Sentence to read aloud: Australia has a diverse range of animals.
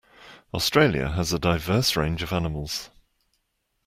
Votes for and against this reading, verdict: 2, 0, accepted